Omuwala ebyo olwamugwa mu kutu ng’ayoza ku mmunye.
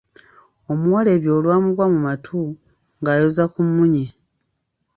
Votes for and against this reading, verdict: 1, 2, rejected